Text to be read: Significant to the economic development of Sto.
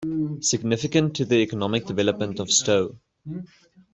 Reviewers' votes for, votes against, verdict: 0, 2, rejected